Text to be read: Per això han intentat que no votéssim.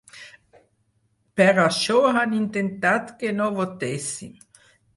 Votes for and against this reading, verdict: 6, 0, accepted